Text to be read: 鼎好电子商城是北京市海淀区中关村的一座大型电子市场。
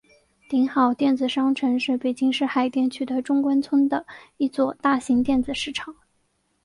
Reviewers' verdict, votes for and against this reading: accepted, 5, 0